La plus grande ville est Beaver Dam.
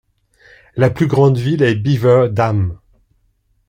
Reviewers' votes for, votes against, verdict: 2, 0, accepted